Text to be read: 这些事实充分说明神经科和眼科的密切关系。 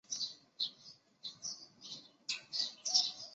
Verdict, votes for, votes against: rejected, 0, 3